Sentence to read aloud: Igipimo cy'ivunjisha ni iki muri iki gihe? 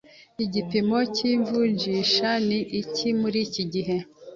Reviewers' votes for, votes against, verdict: 2, 0, accepted